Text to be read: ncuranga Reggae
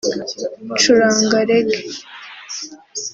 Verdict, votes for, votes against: accepted, 2, 1